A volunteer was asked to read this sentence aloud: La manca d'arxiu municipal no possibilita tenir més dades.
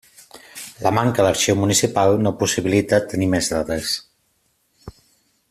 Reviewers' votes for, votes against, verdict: 2, 0, accepted